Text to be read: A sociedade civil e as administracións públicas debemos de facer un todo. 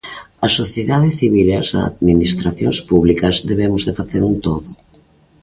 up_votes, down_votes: 2, 0